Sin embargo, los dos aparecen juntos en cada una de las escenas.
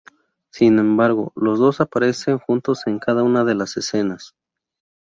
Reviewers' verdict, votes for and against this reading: accepted, 4, 0